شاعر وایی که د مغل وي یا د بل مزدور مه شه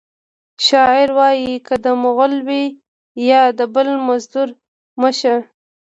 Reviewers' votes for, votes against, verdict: 2, 0, accepted